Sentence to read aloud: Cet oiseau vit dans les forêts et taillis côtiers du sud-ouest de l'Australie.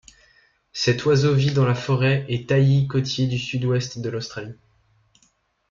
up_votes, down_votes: 1, 2